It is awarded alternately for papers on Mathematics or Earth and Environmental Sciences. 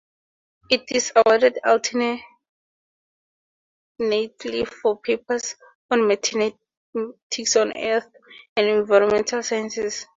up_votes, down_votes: 0, 2